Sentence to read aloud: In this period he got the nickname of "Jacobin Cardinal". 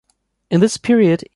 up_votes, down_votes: 0, 2